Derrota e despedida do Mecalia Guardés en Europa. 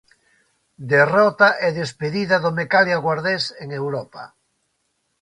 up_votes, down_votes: 2, 0